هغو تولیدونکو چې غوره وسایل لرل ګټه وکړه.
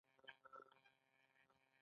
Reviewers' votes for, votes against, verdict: 0, 2, rejected